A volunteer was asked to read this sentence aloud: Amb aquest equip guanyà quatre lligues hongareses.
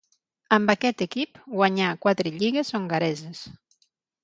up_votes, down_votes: 6, 0